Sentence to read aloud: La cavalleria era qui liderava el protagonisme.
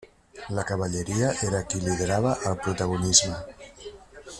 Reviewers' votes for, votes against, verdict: 3, 0, accepted